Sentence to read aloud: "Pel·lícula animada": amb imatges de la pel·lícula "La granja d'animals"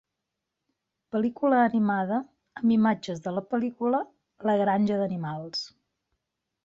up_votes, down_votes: 3, 0